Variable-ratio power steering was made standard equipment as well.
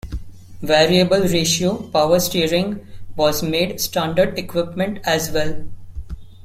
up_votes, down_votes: 2, 0